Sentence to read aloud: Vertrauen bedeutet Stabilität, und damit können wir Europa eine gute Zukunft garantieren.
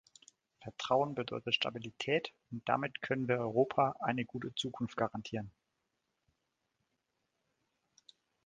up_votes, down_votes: 2, 0